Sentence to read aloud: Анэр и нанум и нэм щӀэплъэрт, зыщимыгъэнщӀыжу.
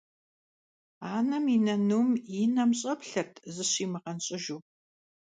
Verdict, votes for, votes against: rejected, 1, 2